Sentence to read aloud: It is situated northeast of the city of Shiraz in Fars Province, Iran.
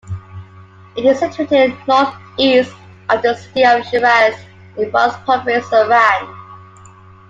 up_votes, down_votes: 2, 1